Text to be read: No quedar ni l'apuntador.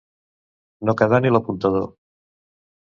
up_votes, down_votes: 2, 0